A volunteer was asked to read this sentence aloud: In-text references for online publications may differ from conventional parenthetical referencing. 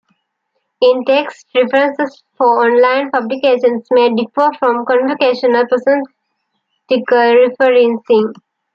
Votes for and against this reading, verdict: 1, 2, rejected